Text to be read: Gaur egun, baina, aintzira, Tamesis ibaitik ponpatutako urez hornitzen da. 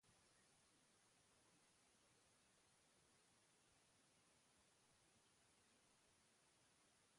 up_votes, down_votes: 0, 2